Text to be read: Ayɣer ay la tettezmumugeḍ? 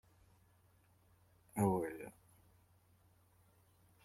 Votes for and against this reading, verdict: 0, 3, rejected